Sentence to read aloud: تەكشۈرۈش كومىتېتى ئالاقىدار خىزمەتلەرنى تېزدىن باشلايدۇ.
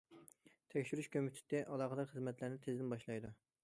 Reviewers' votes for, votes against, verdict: 2, 1, accepted